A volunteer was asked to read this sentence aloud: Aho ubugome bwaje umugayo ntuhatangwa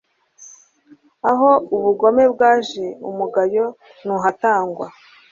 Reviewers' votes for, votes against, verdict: 3, 0, accepted